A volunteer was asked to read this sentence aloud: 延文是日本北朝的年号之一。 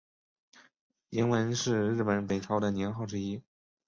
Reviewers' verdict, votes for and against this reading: accepted, 3, 0